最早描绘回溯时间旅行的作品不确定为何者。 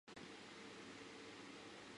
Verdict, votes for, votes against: rejected, 1, 2